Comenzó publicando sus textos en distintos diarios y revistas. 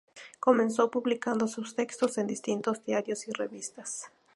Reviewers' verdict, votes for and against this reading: accepted, 2, 0